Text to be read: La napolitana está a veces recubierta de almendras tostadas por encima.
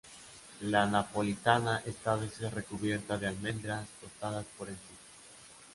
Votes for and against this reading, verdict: 0, 2, rejected